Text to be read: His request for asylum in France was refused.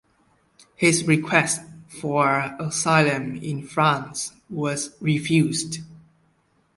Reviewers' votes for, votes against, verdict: 2, 0, accepted